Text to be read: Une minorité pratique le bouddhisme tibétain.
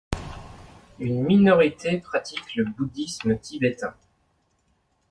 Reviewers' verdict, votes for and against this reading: rejected, 0, 2